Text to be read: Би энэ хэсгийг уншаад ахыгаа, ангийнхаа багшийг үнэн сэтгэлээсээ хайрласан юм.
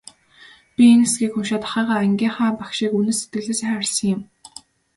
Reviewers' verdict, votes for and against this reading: accepted, 5, 0